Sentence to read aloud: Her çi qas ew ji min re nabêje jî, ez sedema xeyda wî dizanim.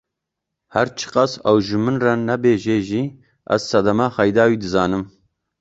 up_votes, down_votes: 0, 2